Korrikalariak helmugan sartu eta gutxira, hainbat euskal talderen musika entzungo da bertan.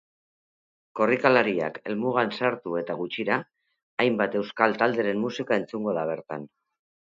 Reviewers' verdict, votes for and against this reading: accepted, 2, 0